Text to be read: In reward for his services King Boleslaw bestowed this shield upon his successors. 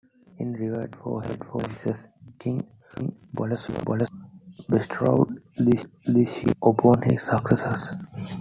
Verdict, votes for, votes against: rejected, 1, 2